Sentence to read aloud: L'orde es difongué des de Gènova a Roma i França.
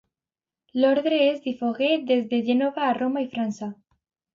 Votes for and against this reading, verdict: 1, 2, rejected